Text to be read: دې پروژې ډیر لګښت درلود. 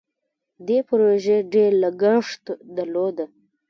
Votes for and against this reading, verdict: 0, 2, rejected